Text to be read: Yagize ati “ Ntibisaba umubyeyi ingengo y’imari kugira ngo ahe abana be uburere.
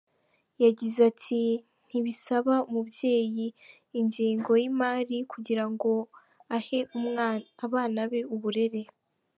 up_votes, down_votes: 0, 2